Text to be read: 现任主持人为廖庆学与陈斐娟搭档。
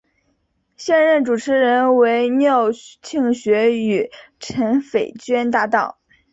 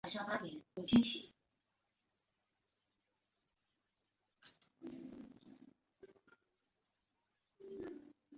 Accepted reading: first